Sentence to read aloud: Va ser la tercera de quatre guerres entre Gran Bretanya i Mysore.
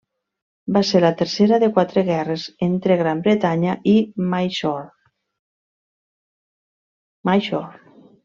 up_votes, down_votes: 1, 2